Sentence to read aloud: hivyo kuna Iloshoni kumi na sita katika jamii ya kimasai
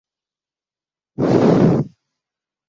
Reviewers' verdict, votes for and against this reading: rejected, 0, 2